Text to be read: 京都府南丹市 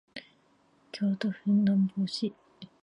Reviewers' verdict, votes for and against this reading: rejected, 0, 2